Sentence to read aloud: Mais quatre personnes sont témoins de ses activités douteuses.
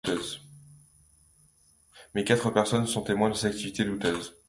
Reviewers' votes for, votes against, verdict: 0, 2, rejected